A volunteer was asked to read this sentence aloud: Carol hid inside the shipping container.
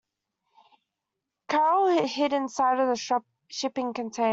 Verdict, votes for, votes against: rejected, 1, 2